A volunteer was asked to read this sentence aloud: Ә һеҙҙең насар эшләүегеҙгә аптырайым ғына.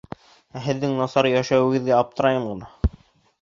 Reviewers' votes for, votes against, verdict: 1, 2, rejected